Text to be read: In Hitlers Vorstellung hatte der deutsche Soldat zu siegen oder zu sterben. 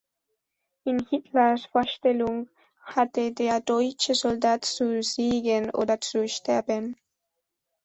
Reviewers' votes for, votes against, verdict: 2, 0, accepted